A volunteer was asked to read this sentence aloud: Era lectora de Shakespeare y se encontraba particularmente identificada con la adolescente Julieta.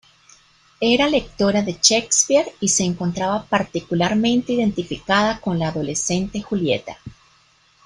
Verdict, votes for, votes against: rejected, 1, 2